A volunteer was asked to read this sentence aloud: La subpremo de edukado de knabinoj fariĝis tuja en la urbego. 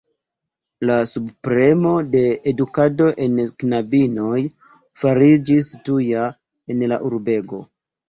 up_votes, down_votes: 0, 2